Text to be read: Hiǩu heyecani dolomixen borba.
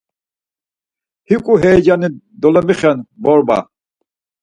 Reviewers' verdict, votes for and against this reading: accepted, 4, 0